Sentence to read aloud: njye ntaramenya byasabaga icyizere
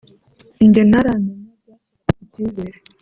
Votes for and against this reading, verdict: 1, 2, rejected